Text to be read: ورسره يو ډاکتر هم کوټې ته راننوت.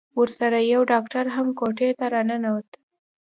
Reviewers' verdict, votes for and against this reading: accepted, 2, 0